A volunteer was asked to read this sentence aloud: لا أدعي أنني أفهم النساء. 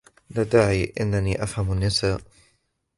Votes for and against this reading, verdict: 1, 2, rejected